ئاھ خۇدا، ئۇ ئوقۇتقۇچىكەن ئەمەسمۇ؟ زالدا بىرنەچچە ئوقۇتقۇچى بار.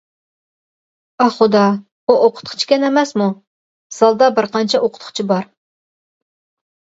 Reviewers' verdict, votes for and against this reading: rejected, 0, 2